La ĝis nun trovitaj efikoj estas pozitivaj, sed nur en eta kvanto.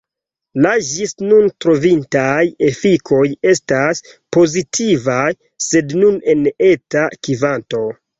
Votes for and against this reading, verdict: 1, 2, rejected